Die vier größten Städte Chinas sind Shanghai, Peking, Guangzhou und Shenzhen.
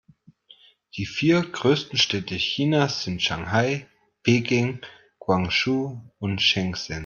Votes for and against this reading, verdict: 1, 2, rejected